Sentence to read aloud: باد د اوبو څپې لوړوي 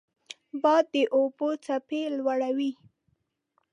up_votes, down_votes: 2, 0